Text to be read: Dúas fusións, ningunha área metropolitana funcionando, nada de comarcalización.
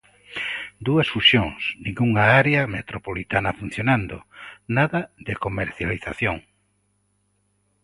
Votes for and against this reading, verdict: 0, 2, rejected